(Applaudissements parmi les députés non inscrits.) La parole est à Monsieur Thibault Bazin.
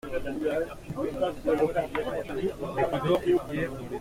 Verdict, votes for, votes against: rejected, 0, 2